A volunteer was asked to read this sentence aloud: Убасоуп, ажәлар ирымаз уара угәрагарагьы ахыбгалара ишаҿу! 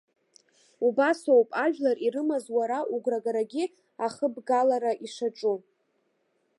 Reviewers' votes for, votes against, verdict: 2, 0, accepted